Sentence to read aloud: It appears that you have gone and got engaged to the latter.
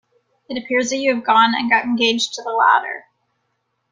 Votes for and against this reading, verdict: 1, 2, rejected